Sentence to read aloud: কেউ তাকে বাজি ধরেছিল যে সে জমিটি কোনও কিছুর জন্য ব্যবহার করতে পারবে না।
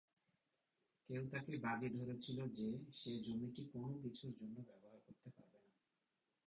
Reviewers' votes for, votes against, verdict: 2, 4, rejected